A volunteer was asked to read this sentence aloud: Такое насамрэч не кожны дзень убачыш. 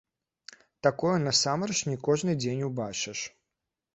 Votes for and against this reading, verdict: 2, 0, accepted